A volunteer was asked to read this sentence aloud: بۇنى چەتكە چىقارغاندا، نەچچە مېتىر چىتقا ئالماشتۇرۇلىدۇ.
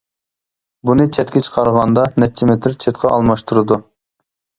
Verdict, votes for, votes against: rejected, 0, 2